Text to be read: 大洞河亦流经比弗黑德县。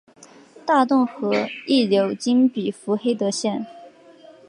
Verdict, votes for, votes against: accepted, 3, 0